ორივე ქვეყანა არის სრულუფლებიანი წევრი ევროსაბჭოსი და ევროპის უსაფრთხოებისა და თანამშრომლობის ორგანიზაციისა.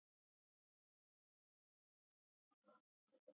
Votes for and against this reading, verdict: 0, 2, rejected